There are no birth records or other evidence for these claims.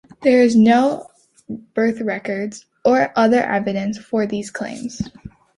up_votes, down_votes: 1, 2